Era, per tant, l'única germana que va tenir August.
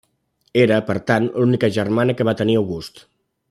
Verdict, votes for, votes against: accepted, 3, 0